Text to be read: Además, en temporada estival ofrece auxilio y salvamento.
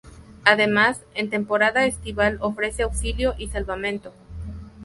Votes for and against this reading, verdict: 2, 0, accepted